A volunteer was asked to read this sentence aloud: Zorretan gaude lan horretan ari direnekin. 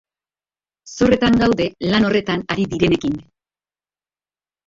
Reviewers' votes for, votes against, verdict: 2, 0, accepted